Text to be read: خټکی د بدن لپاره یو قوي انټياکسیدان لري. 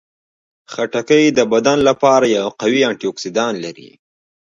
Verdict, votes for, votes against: accepted, 2, 0